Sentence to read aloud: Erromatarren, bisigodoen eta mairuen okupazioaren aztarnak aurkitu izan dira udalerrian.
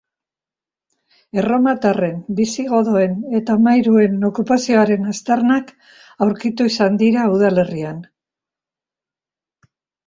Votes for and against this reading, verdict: 3, 0, accepted